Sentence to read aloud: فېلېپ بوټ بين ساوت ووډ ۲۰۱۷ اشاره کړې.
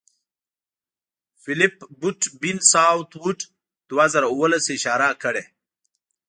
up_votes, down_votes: 0, 2